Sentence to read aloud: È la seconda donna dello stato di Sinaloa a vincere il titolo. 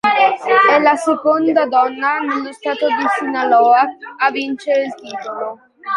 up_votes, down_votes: 1, 2